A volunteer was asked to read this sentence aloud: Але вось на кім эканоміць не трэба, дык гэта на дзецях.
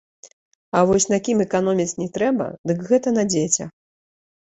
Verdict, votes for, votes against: rejected, 1, 2